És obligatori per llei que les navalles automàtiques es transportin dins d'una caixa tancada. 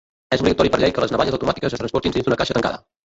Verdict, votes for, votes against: rejected, 1, 2